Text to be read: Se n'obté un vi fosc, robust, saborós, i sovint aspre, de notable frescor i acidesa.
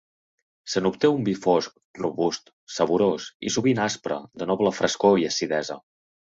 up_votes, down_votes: 1, 2